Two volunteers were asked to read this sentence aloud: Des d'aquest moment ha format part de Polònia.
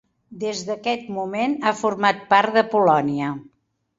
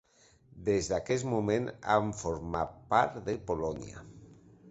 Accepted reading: first